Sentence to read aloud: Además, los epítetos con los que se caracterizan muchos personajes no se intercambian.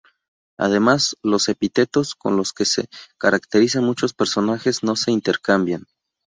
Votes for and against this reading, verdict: 2, 2, rejected